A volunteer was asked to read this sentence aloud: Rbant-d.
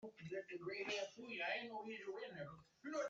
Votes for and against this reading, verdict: 0, 2, rejected